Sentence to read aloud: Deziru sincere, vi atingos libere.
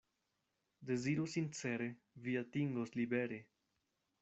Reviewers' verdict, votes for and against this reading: accepted, 2, 0